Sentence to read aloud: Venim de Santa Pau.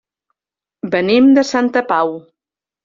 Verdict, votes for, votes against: accepted, 3, 0